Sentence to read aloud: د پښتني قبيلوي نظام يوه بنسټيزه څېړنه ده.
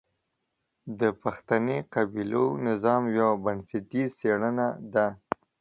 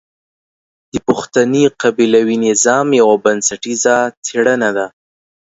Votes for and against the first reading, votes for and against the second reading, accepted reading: 0, 2, 2, 0, second